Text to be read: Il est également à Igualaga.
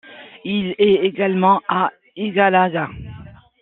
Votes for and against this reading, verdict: 2, 0, accepted